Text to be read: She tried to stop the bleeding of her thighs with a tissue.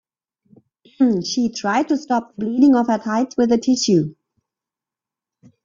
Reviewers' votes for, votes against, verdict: 0, 2, rejected